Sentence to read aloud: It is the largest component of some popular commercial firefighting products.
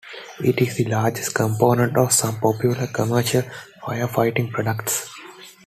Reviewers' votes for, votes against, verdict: 2, 0, accepted